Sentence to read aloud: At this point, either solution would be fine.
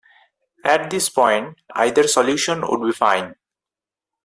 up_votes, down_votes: 4, 0